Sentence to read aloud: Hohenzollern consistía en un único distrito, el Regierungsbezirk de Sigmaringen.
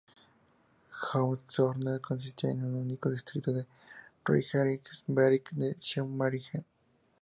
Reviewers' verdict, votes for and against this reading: rejected, 0, 2